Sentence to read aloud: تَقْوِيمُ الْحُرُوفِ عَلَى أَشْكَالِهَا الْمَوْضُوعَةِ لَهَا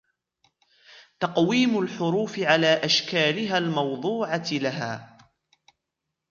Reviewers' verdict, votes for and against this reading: rejected, 1, 2